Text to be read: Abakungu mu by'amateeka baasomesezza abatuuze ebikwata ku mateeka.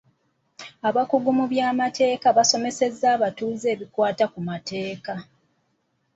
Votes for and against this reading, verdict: 2, 1, accepted